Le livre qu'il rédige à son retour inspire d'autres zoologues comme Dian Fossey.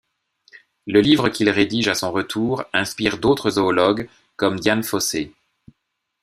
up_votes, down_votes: 2, 0